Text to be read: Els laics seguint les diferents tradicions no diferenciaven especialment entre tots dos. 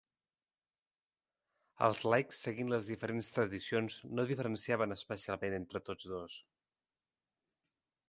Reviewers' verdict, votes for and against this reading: accepted, 4, 0